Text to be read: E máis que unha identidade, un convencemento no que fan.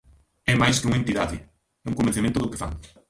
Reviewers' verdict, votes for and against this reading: rejected, 0, 2